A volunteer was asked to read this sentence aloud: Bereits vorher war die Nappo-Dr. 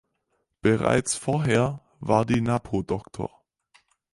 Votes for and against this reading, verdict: 2, 4, rejected